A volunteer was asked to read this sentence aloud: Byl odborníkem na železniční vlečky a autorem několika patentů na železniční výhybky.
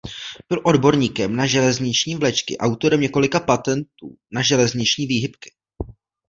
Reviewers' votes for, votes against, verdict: 1, 2, rejected